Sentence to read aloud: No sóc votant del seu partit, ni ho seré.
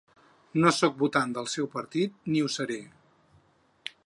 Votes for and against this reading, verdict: 6, 0, accepted